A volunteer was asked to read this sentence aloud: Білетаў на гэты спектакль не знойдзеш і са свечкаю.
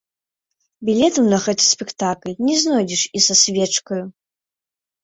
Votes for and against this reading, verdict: 0, 2, rejected